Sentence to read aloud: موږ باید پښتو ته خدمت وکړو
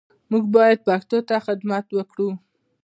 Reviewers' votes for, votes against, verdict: 2, 0, accepted